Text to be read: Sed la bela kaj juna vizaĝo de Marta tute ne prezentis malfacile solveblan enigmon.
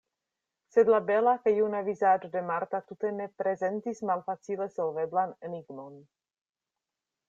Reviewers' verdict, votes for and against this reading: accepted, 2, 0